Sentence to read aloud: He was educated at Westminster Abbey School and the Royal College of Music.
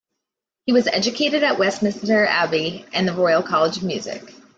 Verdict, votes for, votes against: rejected, 1, 2